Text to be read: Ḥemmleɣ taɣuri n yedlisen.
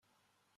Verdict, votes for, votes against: rejected, 0, 2